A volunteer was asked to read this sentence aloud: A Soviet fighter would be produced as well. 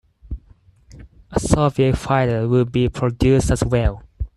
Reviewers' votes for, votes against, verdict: 2, 4, rejected